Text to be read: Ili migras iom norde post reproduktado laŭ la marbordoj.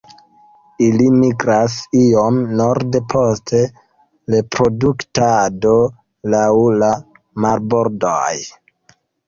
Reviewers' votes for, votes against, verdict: 2, 1, accepted